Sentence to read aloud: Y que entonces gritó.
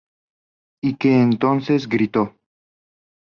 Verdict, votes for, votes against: accepted, 4, 0